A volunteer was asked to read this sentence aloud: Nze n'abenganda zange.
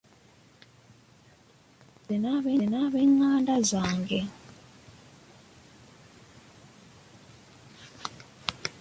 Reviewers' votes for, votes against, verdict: 2, 1, accepted